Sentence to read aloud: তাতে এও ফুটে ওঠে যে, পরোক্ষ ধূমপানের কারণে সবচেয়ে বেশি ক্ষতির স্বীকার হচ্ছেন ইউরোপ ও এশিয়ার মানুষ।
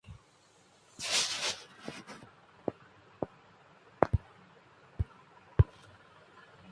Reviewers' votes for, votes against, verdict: 0, 9, rejected